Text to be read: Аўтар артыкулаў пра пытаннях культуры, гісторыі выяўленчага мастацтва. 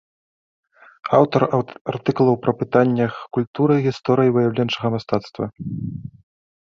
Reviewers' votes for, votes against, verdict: 1, 2, rejected